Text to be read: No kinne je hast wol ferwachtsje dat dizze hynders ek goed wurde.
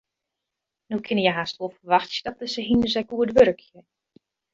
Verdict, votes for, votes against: rejected, 0, 2